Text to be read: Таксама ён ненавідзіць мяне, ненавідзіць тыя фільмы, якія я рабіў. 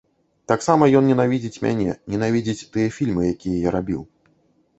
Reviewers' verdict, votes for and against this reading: accepted, 2, 0